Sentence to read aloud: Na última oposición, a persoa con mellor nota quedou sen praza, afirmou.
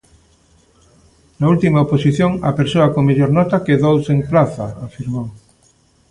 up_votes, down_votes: 2, 0